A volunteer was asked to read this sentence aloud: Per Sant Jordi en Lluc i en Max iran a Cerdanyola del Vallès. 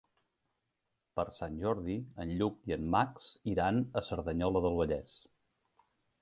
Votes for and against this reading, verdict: 3, 0, accepted